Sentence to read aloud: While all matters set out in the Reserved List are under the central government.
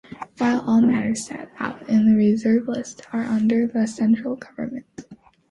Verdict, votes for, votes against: accepted, 2, 0